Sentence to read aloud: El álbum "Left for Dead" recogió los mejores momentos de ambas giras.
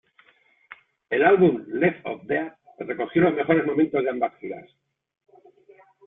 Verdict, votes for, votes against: rejected, 1, 2